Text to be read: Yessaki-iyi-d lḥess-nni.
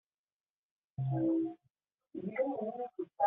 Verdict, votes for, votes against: rejected, 0, 2